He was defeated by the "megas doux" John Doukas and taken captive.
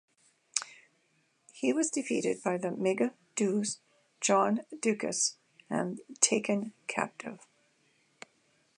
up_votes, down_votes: 2, 0